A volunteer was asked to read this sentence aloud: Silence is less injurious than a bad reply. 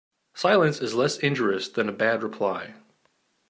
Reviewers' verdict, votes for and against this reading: accepted, 2, 0